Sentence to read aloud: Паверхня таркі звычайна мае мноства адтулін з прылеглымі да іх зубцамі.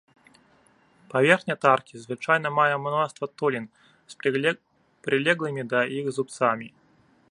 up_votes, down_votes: 0, 2